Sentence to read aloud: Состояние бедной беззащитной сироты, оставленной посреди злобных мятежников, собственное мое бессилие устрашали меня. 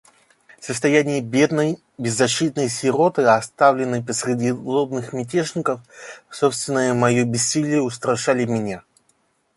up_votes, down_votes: 1, 2